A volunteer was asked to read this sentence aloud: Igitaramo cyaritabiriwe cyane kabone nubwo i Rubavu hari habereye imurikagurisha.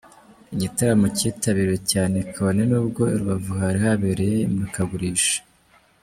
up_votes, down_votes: 0, 2